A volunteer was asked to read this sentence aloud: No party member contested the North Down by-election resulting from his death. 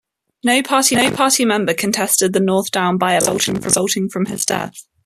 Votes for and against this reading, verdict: 1, 2, rejected